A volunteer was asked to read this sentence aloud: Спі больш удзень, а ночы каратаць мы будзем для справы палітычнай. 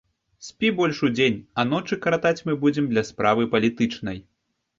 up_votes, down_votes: 2, 0